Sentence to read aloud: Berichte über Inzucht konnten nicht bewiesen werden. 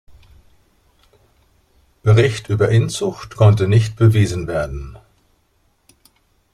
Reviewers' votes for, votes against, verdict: 0, 2, rejected